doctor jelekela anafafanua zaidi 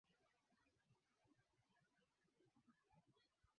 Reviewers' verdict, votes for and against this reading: rejected, 0, 2